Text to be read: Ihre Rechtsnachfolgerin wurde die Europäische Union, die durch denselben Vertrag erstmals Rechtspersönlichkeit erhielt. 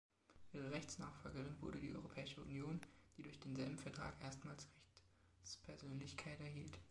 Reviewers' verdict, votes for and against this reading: rejected, 0, 2